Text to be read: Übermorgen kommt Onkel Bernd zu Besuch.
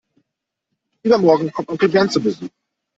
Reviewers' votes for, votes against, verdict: 1, 2, rejected